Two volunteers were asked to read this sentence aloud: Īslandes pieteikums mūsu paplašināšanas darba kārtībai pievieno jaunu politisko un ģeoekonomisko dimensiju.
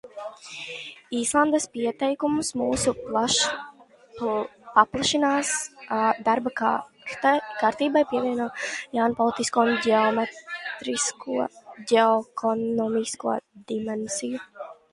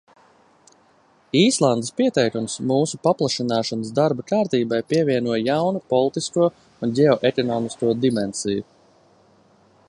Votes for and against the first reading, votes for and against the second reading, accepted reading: 0, 2, 2, 0, second